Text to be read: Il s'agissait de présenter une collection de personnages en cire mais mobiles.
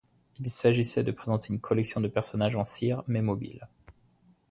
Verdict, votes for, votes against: accepted, 2, 0